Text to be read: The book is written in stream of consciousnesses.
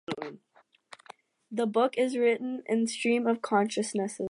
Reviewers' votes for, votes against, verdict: 2, 0, accepted